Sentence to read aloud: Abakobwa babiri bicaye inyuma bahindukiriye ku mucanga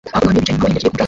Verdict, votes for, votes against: rejected, 0, 2